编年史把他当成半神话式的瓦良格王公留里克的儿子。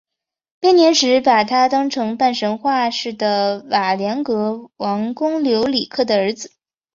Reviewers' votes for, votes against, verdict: 3, 0, accepted